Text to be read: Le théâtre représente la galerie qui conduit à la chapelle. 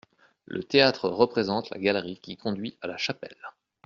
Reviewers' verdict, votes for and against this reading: accepted, 2, 0